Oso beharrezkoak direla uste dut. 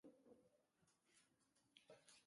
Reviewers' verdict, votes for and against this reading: rejected, 0, 2